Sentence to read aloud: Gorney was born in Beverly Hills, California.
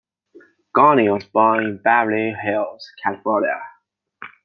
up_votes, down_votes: 2, 0